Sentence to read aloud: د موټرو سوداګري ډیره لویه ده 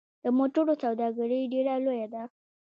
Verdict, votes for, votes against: rejected, 1, 2